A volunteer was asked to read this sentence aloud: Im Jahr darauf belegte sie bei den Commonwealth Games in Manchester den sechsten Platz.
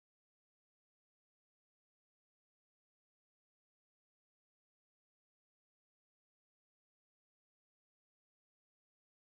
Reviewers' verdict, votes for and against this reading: rejected, 0, 2